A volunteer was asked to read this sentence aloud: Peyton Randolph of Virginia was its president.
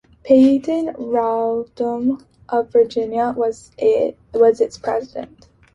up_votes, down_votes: 0, 2